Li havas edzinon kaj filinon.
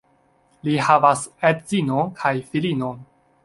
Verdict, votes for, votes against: rejected, 1, 2